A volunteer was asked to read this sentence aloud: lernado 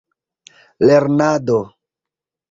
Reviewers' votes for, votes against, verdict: 2, 1, accepted